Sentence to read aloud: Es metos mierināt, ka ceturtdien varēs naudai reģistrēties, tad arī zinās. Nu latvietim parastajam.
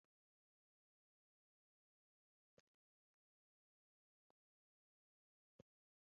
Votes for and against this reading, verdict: 0, 2, rejected